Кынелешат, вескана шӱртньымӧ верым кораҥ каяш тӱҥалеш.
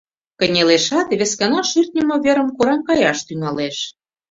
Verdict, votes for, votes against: accepted, 2, 0